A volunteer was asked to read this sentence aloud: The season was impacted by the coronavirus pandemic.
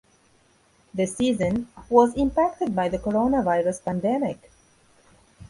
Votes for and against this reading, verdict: 2, 0, accepted